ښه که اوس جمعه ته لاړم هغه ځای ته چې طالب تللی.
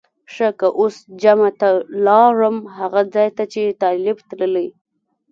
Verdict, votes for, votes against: accepted, 2, 0